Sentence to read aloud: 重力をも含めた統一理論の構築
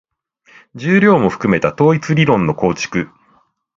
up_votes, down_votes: 1, 2